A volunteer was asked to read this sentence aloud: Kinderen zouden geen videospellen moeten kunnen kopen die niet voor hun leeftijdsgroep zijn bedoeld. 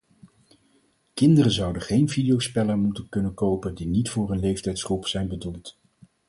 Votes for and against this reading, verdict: 4, 0, accepted